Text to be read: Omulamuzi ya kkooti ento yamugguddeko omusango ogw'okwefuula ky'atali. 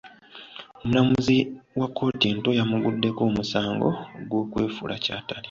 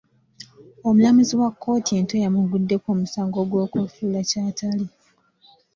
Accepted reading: second